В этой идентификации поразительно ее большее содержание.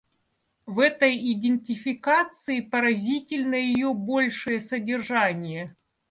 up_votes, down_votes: 2, 0